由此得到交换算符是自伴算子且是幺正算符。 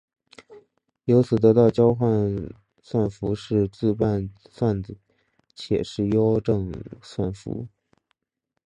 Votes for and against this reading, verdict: 1, 3, rejected